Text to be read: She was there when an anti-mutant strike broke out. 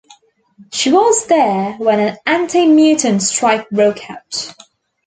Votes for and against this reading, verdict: 2, 1, accepted